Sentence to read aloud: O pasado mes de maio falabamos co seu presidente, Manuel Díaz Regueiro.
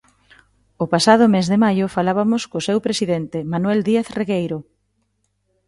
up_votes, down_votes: 0, 2